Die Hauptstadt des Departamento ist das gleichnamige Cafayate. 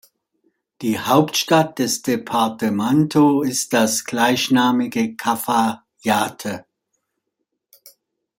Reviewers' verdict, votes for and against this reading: accepted, 2, 0